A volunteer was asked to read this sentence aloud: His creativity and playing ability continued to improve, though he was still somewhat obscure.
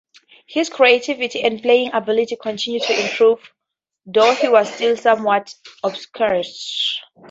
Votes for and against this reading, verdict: 4, 0, accepted